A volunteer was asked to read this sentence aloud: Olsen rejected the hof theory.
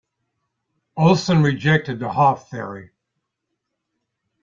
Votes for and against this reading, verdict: 2, 0, accepted